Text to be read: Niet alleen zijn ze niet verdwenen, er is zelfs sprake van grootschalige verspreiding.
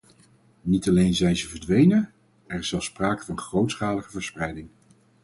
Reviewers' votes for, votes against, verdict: 2, 4, rejected